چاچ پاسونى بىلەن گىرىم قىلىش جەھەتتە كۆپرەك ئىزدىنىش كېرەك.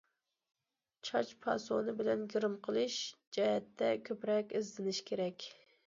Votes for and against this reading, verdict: 2, 0, accepted